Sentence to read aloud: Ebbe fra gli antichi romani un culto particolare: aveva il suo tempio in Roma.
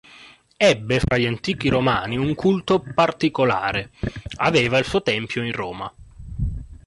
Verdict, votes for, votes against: accepted, 2, 0